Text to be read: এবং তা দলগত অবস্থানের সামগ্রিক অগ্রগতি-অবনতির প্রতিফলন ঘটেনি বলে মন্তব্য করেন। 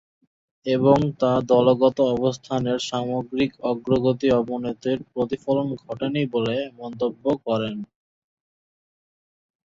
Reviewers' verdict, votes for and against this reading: accepted, 4, 0